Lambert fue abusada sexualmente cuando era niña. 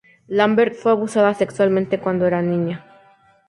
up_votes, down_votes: 2, 0